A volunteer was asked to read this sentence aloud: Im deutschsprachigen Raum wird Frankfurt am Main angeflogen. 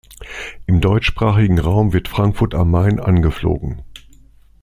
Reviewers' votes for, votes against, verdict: 2, 0, accepted